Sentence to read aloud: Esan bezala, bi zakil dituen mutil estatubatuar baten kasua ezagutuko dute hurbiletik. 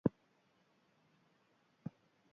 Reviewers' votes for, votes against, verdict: 0, 2, rejected